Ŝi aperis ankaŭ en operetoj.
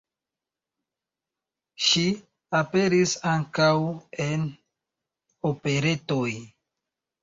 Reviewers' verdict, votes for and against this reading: accepted, 2, 1